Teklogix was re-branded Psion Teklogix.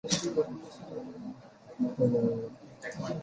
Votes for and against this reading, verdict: 0, 2, rejected